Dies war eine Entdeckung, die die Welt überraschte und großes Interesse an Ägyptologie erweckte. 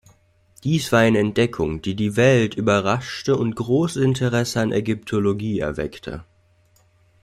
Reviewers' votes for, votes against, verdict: 0, 2, rejected